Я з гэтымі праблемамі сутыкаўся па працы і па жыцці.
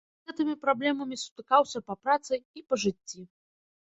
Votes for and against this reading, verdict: 0, 2, rejected